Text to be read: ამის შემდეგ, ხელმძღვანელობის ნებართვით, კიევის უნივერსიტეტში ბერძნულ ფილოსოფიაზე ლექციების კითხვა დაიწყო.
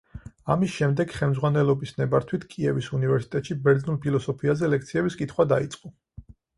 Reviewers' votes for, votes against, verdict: 4, 0, accepted